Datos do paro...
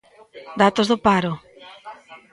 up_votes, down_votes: 1, 2